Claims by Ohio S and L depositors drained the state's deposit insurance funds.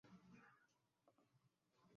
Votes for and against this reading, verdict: 1, 2, rejected